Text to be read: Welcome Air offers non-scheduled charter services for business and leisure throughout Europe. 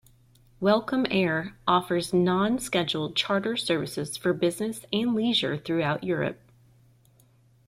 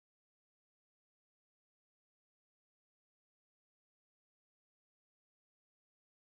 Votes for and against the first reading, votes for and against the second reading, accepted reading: 2, 0, 0, 2, first